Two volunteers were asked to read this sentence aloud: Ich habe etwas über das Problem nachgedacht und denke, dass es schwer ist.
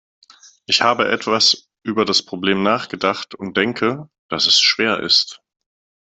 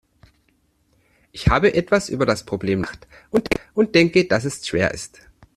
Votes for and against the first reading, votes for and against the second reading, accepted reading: 2, 0, 0, 2, first